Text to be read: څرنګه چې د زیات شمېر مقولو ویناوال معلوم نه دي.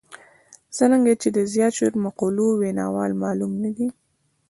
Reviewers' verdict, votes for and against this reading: accepted, 2, 0